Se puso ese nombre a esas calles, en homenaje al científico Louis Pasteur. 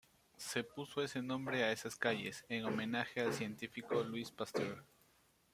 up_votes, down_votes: 2, 1